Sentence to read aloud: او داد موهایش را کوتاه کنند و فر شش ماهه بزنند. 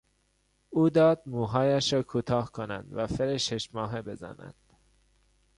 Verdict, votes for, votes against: accepted, 3, 0